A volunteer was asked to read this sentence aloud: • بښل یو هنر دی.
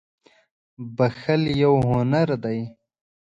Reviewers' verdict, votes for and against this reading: accepted, 2, 0